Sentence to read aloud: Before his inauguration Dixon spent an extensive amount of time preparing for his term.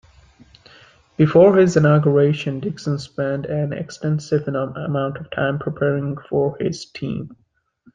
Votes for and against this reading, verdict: 0, 2, rejected